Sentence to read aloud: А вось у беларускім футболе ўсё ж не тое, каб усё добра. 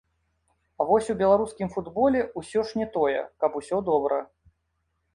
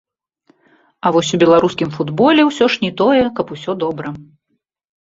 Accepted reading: first